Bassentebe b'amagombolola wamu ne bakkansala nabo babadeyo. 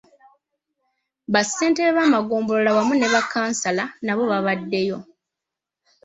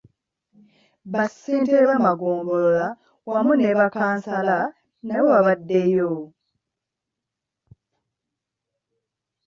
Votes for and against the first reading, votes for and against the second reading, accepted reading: 2, 0, 0, 2, first